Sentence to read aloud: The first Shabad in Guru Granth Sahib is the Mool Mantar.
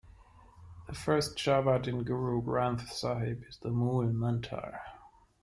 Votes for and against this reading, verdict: 1, 2, rejected